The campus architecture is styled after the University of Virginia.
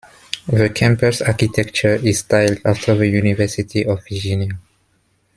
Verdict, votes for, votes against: accepted, 2, 0